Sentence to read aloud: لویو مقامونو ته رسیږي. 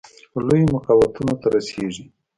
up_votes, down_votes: 0, 2